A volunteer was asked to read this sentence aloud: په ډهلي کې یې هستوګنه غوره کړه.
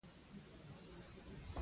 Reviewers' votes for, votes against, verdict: 1, 2, rejected